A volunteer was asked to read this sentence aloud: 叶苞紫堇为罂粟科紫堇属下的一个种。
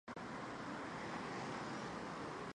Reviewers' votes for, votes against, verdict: 2, 1, accepted